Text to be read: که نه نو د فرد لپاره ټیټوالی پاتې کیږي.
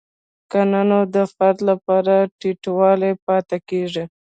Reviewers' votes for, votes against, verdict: 2, 0, accepted